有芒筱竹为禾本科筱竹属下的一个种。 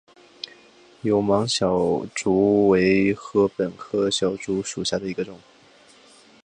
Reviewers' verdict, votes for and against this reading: accepted, 3, 1